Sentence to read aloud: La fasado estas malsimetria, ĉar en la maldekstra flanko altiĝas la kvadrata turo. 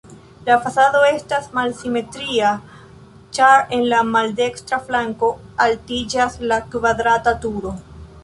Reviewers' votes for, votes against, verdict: 3, 0, accepted